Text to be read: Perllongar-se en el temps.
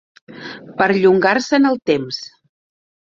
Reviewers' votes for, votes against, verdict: 4, 0, accepted